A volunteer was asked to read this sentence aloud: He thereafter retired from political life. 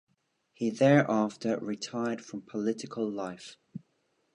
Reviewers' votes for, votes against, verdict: 2, 0, accepted